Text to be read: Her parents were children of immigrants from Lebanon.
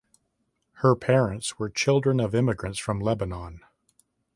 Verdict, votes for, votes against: accepted, 2, 0